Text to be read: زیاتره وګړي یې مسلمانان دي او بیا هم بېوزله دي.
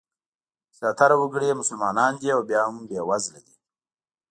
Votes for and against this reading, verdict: 3, 0, accepted